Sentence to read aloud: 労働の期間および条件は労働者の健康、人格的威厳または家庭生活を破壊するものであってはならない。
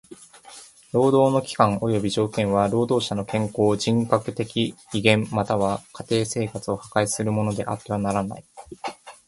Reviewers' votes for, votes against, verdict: 2, 0, accepted